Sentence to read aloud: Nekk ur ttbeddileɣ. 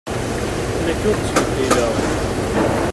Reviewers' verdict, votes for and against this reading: rejected, 1, 2